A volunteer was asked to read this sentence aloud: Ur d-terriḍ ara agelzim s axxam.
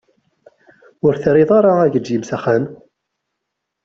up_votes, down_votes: 2, 1